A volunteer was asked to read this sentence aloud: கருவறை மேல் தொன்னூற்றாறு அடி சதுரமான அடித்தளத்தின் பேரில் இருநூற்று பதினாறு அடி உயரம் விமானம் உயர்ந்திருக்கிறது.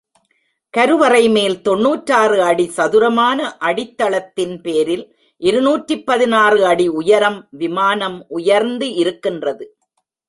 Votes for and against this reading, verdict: 1, 2, rejected